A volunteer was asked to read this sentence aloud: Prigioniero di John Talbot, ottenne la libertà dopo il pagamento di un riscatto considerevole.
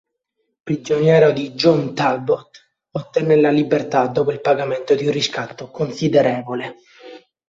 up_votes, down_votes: 2, 1